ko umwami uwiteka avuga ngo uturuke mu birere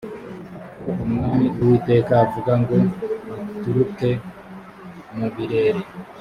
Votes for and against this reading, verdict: 2, 1, accepted